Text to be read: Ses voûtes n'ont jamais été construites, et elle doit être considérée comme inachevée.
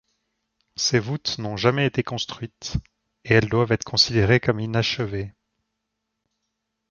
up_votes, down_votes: 1, 2